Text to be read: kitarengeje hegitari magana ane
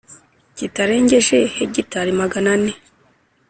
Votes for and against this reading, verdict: 2, 0, accepted